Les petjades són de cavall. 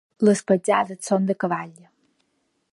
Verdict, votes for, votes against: accepted, 2, 0